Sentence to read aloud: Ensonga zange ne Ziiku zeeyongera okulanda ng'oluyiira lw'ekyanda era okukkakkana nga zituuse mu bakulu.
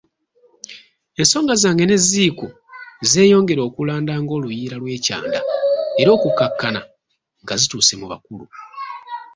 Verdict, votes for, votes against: rejected, 1, 2